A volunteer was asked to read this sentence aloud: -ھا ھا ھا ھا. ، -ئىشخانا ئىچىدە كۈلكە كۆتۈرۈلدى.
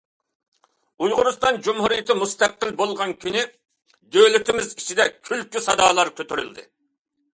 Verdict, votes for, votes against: rejected, 0, 2